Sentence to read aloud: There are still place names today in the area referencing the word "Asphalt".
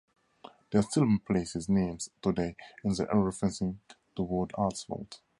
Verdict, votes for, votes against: rejected, 0, 2